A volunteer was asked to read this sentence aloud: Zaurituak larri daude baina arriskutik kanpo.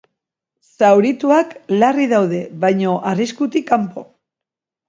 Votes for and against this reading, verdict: 0, 3, rejected